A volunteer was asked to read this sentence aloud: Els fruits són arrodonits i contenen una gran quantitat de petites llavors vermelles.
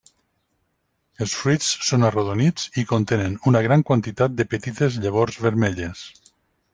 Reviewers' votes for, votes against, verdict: 0, 2, rejected